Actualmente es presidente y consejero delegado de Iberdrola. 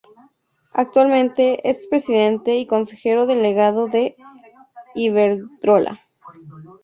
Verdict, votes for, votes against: accepted, 2, 0